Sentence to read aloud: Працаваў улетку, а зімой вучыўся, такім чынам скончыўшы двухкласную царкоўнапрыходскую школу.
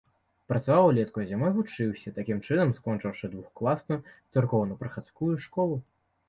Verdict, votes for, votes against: rejected, 0, 2